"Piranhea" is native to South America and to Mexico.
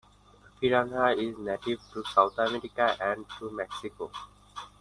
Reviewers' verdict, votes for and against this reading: accepted, 2, 1